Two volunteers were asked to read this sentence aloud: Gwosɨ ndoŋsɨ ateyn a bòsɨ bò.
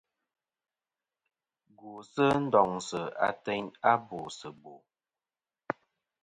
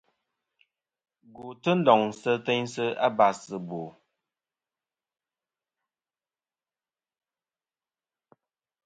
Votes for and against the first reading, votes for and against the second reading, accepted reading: 2, 0, 0, 2, first